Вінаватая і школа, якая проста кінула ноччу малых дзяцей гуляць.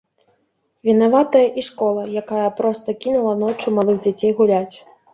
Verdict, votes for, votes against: rejected, 0, 2